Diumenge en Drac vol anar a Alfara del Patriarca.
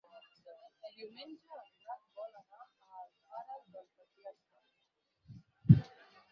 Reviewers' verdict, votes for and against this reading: rejected, 0, 4